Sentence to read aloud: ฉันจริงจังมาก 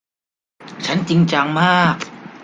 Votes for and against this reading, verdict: 2, 0, accepted